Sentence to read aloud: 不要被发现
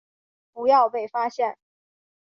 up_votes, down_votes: 2, 0